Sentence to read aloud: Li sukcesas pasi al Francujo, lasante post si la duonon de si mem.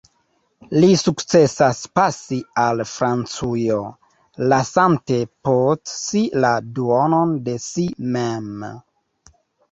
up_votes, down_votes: 1, 2